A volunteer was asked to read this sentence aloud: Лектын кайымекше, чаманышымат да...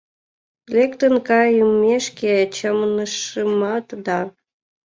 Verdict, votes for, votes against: rejected, 0, 2